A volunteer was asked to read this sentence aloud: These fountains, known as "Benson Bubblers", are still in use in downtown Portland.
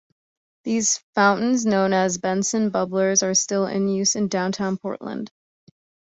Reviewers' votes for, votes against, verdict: 2, 0, accepted